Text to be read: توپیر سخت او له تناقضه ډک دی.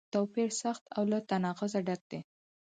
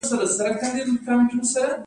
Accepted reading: first